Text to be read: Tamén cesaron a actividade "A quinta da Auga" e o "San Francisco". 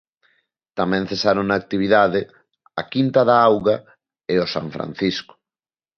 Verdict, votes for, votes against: accepted, 3, 0